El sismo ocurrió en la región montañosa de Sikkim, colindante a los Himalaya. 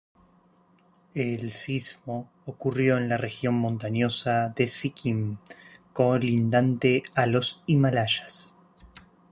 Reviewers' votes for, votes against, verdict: 1, 2, rejected